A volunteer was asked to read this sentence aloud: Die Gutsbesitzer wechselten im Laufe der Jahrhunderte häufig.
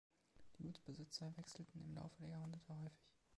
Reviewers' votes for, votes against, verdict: 2, 0, accepted